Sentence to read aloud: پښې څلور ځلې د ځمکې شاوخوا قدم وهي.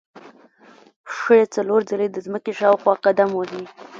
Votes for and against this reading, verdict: 1, 2, rejected